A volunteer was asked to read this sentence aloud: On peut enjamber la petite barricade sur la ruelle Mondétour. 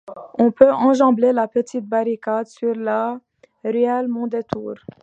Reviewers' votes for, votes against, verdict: 2, 0, accepted